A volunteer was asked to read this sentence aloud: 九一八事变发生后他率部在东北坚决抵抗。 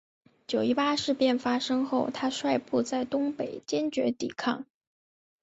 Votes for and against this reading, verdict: 2, 1, accepted